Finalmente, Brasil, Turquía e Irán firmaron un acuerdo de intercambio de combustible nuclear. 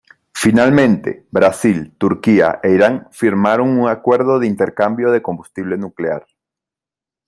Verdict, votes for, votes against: accepted, 2, 0